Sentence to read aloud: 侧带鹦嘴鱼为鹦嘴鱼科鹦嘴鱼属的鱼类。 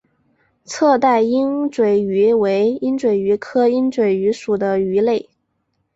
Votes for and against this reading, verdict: 2, 1, accepted